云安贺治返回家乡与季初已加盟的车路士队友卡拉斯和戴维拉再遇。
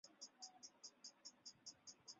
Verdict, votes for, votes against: rejected, 0, 2